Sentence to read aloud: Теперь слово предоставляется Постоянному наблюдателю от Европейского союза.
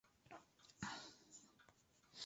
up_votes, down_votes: 0, 2